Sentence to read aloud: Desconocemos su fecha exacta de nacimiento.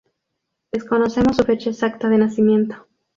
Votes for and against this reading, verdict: 4, 2, accepted